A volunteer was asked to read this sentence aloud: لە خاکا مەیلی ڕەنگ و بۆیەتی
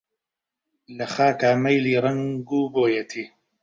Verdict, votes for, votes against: rejected, 1, 2